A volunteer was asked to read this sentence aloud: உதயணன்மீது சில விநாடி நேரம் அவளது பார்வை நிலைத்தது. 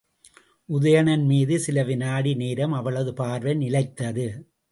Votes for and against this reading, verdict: 2, 0, accepted